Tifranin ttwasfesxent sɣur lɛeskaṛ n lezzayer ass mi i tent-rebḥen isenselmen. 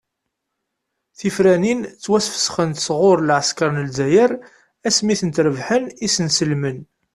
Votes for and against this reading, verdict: 2, 0, accepted